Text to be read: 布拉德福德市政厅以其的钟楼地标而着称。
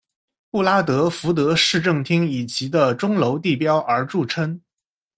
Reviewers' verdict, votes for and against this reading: accepted, 2, 0